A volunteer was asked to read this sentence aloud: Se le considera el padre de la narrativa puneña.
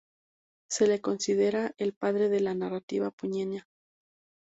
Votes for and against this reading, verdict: 2, 2, rejected